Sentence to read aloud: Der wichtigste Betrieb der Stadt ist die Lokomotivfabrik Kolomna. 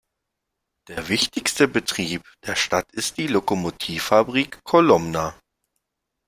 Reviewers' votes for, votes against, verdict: 2, 0, accepted